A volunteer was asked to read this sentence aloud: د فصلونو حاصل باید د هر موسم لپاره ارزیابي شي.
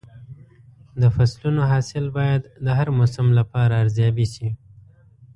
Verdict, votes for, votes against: accepted, 2, 0